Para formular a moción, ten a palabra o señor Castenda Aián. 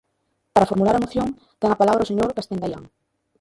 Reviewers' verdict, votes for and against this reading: rejected, 1, 2